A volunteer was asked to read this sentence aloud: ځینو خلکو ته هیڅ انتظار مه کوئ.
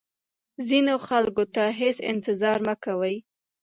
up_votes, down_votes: 2, 0